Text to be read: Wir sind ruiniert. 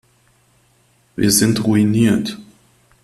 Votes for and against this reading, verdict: 2, 0, accepted